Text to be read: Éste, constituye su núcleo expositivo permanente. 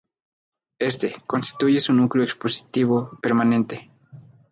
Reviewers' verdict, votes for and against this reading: rejected, 0, 2